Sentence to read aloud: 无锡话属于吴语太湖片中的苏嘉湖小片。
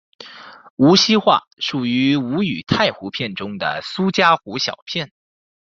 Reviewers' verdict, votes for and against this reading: accepted, 2, 0